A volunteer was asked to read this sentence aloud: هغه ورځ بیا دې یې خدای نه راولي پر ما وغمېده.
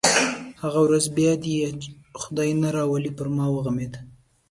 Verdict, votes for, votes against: rejected, 1, 2